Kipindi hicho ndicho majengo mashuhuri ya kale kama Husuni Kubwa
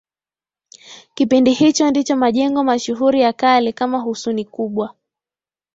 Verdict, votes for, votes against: accepted, 2, 1